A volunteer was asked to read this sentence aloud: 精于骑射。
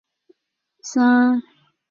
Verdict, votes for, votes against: rejected, 0, 2